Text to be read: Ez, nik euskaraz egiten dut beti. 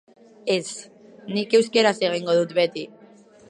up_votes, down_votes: 0, 4